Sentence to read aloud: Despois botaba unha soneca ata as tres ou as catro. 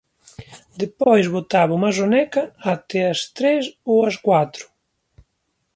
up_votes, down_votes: 0, 2